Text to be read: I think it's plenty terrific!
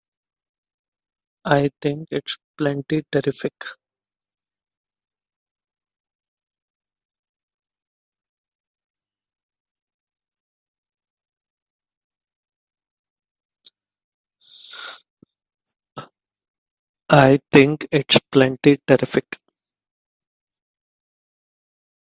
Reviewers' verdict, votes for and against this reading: rejected, 1, 2